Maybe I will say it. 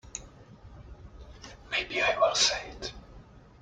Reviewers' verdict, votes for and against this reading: rejected, 0, 2